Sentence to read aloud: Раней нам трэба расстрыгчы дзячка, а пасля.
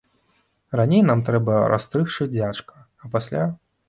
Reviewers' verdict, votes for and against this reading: rejected, 1, 2